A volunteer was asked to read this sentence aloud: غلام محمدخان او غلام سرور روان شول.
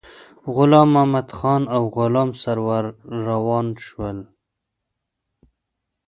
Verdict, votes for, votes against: accepted, 2, 0